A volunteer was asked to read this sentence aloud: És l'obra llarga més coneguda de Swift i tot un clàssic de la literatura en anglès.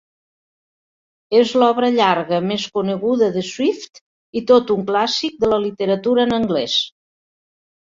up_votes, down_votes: 3, 0